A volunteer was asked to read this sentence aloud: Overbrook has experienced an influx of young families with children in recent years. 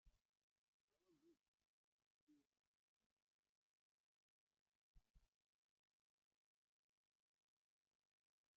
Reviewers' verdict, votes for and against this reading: rejected, 0, 2